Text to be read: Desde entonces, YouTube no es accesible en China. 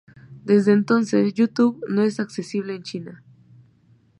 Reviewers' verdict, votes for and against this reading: accepted, 2, 1